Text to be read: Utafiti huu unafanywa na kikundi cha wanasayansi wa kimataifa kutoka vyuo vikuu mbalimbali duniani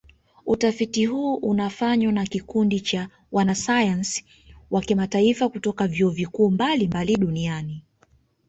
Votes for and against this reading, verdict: 2, 0, accepted